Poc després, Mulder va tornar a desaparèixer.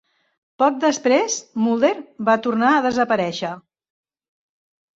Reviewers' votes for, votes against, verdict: 3, 0, accepted